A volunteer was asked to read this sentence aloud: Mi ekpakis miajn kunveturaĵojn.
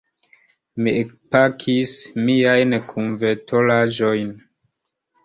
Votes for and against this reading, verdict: 1, 2, rejected